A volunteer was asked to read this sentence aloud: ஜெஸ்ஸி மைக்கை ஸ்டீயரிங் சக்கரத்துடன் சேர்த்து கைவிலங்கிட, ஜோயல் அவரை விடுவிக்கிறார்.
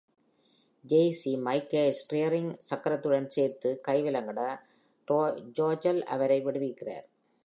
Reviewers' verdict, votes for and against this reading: rejected, 1, 2